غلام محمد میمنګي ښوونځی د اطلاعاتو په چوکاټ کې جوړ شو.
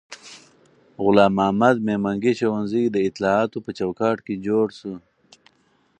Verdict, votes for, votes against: rejected, 2, 2